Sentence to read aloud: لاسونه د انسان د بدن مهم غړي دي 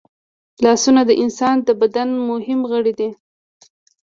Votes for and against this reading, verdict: 2, 0, accepted